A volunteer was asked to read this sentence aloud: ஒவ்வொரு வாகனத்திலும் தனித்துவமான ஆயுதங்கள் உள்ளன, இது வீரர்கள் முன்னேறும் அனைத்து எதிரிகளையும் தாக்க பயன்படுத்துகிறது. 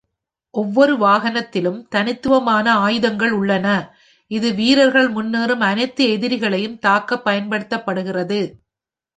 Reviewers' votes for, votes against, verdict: 1, 2, rejected